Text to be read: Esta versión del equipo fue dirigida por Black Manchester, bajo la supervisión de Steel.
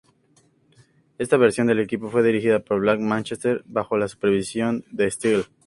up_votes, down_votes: 2, 0